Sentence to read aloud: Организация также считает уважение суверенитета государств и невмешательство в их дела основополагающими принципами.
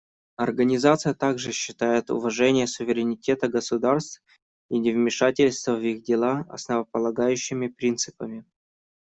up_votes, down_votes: 1, 2